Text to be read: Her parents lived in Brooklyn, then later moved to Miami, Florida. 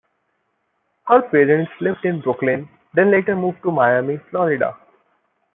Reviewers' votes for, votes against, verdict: 2, 0, accepted